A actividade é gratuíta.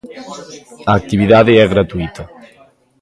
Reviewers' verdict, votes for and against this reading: accepted, 2, 1